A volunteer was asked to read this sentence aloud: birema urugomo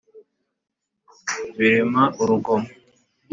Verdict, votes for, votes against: accepted, 2, 0